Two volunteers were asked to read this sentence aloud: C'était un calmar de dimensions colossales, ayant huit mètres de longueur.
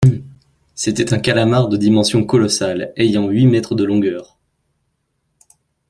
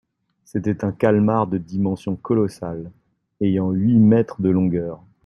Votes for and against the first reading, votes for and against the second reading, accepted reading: 1, 2, 2, 0, second